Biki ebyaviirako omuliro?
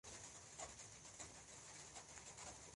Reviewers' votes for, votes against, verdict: 1, 2, rejected